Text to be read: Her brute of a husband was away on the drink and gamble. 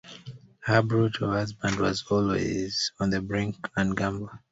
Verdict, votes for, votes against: rejected, 0, 2